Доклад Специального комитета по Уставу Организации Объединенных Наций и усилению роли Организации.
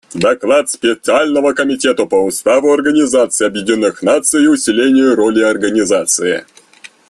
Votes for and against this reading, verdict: 2, 0, accepted